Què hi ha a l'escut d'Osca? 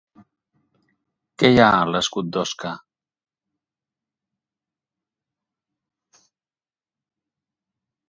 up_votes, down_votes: 2, 2